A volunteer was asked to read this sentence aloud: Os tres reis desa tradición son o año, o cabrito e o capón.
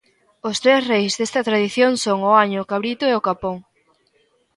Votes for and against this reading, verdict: 0, 2, rejected